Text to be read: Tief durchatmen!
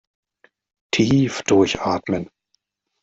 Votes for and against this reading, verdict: 2, 0, accepted